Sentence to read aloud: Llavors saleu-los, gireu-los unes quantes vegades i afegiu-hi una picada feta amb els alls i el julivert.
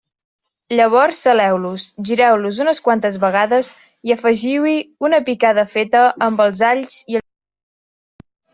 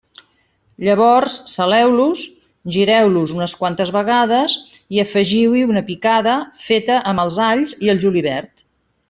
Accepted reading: second